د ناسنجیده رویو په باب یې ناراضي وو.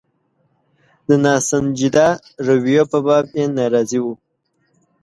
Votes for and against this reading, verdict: 2, 0, accepted